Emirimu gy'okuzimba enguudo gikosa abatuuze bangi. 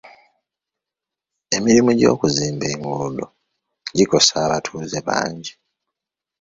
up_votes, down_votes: 2, 0